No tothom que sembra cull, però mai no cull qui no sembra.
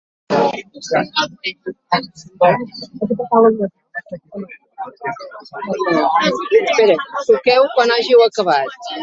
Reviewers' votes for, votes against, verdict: 0, 2, rejected